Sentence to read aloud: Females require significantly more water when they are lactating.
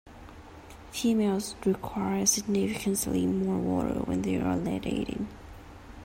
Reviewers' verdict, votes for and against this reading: rejected, 1, 2